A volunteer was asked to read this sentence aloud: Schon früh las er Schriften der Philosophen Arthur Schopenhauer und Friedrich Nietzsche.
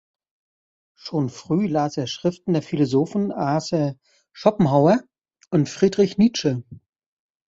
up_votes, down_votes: 0, 2